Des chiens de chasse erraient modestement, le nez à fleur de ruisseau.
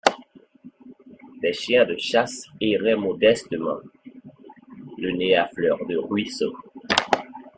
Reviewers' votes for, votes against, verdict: 2, 0, accepted